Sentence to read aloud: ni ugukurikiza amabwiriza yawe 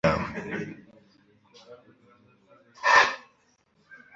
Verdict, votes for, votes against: rejected, 1, 2